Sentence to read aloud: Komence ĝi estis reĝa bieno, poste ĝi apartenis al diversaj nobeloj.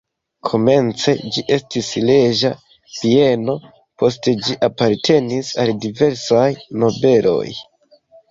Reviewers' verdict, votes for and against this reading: rejected, 1, 2